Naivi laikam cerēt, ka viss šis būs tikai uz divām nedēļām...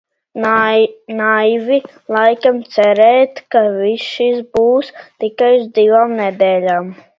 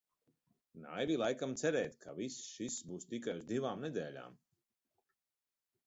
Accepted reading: second